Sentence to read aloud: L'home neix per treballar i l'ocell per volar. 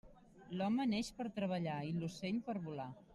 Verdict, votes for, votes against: accepted, 3, 0